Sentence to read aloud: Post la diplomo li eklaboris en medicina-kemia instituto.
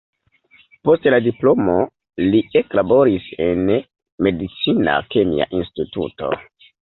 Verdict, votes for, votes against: accepted, 2, 1